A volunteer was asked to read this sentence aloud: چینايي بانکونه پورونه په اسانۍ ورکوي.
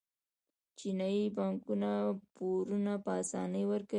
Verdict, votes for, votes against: rejected, 0, 2